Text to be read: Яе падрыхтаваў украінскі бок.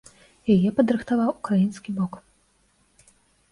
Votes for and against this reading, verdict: 2, 0, accepted